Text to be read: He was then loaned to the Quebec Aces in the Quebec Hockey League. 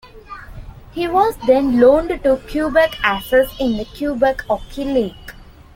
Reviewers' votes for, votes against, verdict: 0, 2, rejected